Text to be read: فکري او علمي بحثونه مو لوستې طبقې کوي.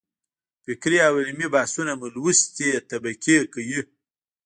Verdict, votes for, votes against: rejected, 1, 2